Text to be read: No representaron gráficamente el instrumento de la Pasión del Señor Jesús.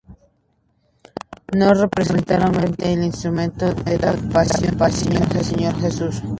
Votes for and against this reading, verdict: 0, 2, rejected